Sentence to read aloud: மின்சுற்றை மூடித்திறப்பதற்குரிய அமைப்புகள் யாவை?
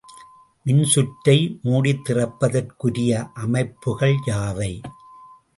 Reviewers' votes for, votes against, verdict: 2, 0, accepted